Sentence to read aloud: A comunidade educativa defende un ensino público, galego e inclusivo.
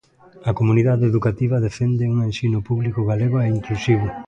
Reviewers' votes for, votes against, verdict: 2, 0, accepted